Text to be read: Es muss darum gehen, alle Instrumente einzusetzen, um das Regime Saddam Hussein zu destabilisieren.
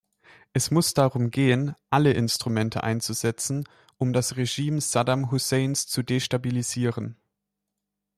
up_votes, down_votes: 0, 2